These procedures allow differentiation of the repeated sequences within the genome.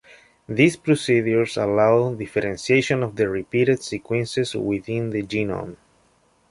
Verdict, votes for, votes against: accepted, 2, 1